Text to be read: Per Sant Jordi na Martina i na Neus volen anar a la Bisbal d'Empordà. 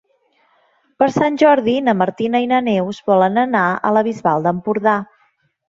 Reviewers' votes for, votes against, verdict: 3, 0, accepted